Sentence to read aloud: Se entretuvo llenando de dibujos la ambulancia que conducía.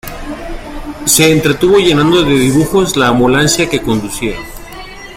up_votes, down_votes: 2, 0